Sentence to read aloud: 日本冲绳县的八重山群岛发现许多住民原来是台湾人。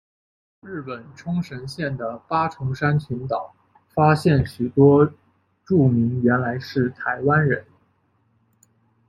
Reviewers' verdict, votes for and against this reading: accepted, 2, 0